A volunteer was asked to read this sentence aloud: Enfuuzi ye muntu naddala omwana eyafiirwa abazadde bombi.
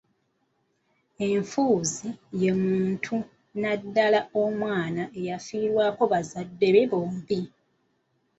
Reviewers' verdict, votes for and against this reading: accepted, 2, 1